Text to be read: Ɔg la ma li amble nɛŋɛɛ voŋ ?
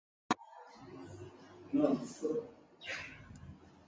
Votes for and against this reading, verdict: 0, 2, rejected